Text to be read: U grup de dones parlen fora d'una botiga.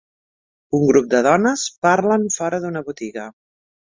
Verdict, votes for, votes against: accepted, 2, 0